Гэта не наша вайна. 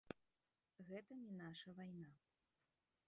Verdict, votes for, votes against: rejected, 1, 2